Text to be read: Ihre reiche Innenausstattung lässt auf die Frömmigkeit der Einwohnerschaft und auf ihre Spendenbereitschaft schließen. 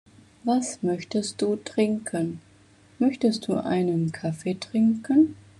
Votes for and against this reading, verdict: 0, 2, rejected